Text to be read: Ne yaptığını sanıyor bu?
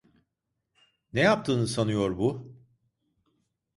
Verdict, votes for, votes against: accepted, 2, 0